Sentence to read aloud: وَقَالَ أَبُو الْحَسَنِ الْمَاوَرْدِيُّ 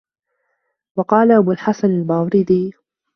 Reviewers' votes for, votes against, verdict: 1, 2, rejected